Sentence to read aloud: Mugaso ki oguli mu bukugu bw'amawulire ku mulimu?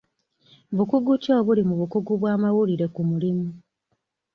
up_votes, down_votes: 1, 2